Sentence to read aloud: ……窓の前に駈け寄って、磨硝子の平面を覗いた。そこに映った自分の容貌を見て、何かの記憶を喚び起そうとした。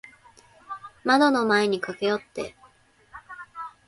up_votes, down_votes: 0, 2